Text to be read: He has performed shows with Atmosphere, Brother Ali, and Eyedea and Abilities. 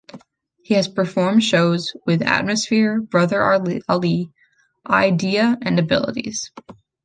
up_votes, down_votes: 2, 3